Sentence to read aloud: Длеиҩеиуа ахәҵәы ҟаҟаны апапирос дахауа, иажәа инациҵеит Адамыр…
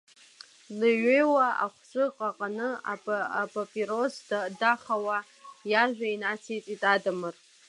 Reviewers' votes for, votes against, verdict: 0, 2, rejected